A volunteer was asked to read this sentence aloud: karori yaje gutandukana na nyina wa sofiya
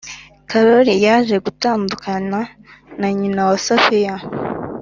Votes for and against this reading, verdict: 2, 0, accepted